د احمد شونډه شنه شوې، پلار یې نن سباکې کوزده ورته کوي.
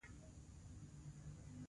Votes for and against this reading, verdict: 2, 1, accepted